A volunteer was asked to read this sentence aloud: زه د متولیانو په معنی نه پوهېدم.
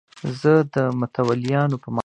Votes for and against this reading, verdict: 1, 2, rejected